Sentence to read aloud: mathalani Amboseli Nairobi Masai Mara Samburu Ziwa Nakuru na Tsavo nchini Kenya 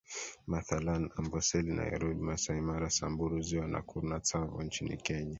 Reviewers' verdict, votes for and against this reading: accepted, 2, 0